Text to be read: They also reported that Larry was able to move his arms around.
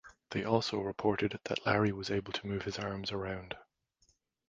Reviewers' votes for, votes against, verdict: 2, 0, accepted